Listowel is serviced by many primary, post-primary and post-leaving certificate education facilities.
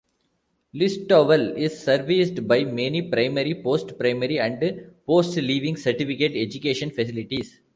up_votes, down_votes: 2, 1